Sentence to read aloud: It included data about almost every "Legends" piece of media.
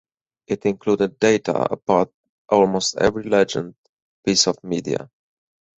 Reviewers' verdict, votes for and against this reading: rejected, 2, 4